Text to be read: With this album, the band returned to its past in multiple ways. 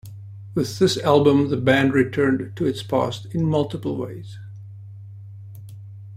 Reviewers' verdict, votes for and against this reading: accepted, 2, 0